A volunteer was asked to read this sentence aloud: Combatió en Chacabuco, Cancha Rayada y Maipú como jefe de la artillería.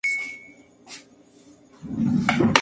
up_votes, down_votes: 0, 2